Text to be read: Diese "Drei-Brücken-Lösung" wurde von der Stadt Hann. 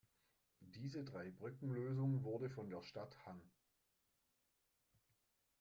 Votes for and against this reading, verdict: 1, 2, rejected